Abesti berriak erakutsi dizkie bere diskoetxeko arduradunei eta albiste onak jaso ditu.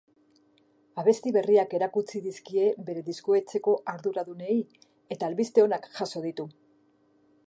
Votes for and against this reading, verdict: 2, 0, accepted